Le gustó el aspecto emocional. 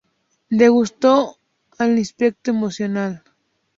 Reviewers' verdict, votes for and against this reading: rejected, 0, 2